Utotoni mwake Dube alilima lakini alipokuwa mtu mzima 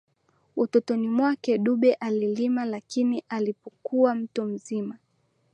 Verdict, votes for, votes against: accepted, 2, 0